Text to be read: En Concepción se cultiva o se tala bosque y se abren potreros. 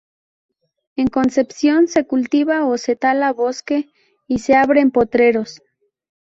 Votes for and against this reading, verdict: 2, 0, accepted